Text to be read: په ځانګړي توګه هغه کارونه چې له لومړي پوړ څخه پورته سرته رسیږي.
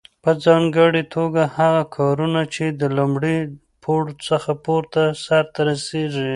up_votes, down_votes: 2, 0